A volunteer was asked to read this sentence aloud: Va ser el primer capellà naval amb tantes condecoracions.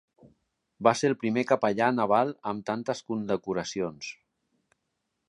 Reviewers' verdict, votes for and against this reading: accepted, 3, 0